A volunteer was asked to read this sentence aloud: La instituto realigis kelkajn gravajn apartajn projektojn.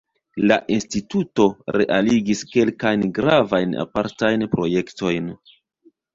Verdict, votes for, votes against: accepted, 2, 0